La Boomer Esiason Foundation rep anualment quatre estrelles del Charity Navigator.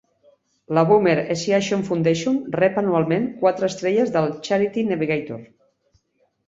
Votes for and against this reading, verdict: 3, 0, accepted